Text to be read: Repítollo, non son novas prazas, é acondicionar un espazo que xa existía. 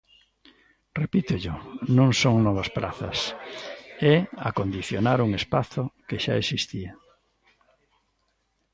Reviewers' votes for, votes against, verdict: 2, 1, accepted